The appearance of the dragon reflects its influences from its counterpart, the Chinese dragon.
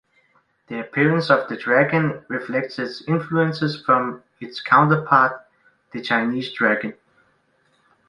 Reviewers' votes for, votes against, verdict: 2, 0, accepted